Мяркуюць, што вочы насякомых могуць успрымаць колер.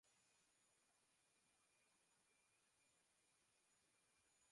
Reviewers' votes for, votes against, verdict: 0, 4, rejected